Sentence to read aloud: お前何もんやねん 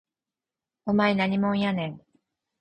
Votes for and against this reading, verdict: 4, 0, accepted